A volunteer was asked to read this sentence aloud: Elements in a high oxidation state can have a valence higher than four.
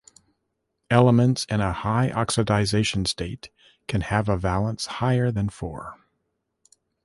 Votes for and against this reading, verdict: 0, 2, rejected